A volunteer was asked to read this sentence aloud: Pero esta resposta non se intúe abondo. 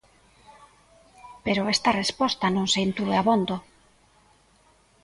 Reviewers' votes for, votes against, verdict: 2, 0, accepted